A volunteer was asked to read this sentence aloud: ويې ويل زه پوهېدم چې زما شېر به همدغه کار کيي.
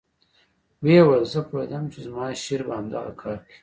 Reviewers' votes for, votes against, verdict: 0, 2, rejected